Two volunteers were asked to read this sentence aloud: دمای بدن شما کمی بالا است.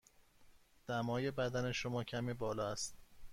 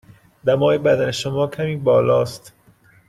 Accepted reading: first